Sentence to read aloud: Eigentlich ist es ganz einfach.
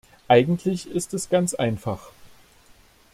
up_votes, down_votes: 2, 0